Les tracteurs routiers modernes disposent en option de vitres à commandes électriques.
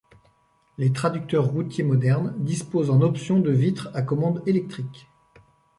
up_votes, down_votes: 0, 2